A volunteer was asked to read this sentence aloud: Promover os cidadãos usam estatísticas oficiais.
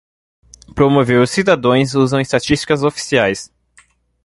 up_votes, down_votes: 2, 1